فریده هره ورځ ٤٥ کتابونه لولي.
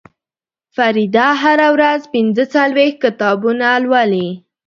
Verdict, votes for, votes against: rejected, 0, 2